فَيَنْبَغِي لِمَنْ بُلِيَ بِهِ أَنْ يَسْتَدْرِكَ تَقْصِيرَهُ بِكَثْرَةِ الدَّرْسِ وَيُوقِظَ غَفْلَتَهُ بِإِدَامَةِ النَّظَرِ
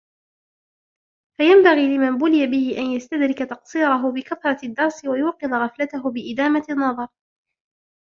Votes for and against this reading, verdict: 2, 0, accepted